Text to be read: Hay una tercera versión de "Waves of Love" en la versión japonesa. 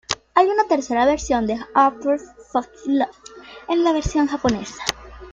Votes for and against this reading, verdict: 0, 2, rejected